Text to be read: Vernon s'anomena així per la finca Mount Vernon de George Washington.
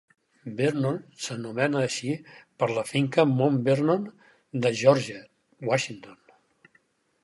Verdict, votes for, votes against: accepted, 4, 0